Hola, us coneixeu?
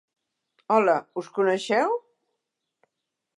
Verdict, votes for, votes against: accepted, 4, 0